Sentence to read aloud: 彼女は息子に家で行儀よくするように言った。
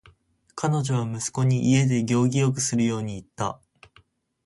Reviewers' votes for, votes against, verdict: 4, 0, accepted